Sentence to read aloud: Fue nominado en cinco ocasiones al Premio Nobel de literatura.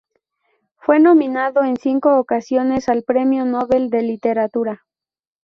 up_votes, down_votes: 0, 2